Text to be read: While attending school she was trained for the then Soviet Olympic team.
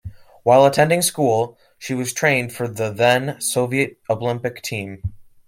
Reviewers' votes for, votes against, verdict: 2, 0, accepted